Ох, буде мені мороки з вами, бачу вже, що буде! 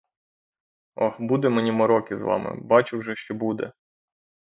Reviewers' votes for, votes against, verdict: 6, 0, accepted